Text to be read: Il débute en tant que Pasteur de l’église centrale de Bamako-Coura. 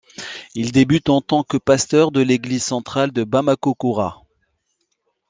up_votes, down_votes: 2, 0